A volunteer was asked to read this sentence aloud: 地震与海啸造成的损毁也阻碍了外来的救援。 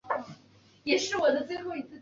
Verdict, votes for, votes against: accepted, 6, 4